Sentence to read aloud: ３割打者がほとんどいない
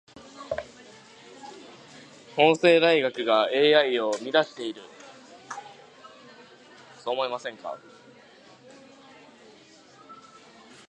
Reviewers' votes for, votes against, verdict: 0, 2, rejected